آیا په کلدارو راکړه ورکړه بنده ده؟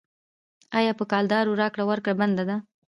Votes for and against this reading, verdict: 2, 0, accepted